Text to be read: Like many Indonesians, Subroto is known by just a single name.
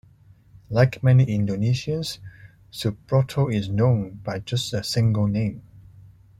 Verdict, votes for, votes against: accepted, 2, 0